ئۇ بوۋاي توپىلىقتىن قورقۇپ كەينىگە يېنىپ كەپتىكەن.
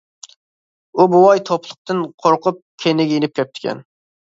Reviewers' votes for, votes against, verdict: 1, 2, rejected